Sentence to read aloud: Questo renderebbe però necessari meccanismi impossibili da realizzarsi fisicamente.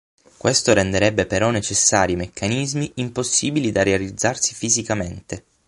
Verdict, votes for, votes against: accepted, 6, 0